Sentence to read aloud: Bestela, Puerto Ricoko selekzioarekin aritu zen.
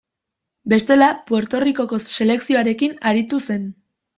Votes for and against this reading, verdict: 2, 0, accepted